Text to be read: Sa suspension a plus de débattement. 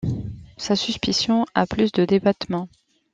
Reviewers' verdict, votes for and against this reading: rejected, 1, 2